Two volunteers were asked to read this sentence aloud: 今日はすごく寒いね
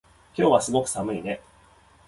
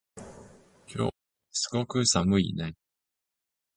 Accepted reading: first